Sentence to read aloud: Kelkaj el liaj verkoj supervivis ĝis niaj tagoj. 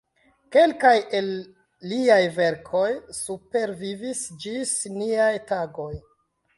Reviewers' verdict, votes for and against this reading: accepted, 2, 0